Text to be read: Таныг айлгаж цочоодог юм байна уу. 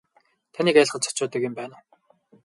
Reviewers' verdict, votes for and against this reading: accepted, 4, 0